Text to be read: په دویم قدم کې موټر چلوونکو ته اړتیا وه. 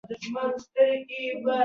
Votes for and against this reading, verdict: 0, 2, rejected